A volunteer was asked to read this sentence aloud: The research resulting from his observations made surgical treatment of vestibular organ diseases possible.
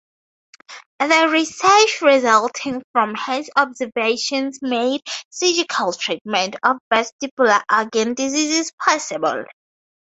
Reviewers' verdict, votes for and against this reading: rejected, 2, 2